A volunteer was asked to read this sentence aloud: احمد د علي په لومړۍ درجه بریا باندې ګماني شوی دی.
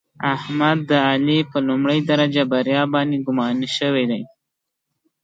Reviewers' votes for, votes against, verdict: 2, 0, accepted